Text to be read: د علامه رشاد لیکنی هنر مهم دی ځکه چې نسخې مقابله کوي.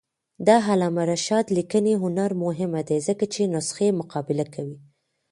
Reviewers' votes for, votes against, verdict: 2, 1, accepted